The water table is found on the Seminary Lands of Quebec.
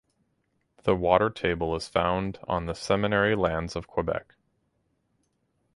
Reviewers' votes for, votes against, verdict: 4, 0, accepted